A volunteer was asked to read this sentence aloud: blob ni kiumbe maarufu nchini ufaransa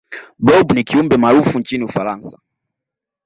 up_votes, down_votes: 1, 2